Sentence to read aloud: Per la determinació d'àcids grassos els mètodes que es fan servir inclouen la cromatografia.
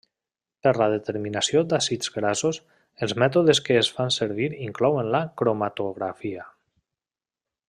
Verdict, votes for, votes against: accepted, 2, 0